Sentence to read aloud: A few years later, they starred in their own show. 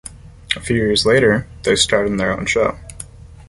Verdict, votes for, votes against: accepted, 2, 0